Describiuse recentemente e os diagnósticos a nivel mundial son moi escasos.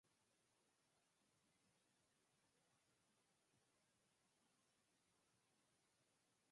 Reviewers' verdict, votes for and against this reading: rejected, 0, 4